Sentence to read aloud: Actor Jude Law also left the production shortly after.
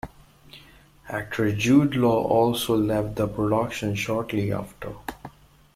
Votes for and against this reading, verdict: 2, 0, accepted